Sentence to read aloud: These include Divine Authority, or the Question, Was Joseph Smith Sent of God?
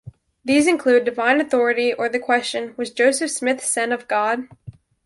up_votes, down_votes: 0, 2